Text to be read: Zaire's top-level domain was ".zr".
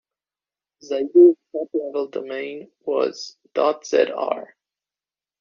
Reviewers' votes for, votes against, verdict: 1, 2, rejected